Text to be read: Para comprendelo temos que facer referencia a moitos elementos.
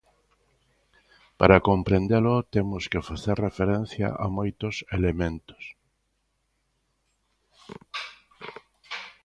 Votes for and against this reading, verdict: 2, 0, accepted